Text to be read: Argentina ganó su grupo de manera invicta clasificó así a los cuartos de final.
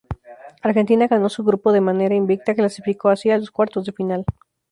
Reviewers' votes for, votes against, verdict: 4, 0, accepted